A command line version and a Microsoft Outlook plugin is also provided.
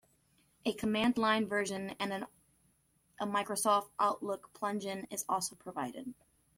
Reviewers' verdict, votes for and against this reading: rejected, 1, 2